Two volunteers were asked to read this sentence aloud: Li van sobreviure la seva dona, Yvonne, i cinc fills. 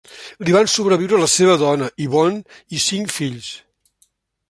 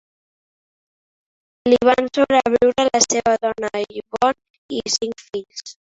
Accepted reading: first